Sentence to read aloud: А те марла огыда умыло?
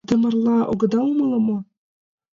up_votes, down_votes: 3, 4